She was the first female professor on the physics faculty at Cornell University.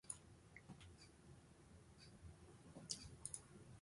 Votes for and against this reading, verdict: 1, 2, rejected